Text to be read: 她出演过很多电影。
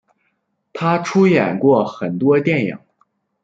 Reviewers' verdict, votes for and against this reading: accepted, 2, 0